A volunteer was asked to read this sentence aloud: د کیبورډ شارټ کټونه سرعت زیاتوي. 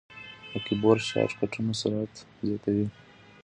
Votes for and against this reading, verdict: 1, 2, rejected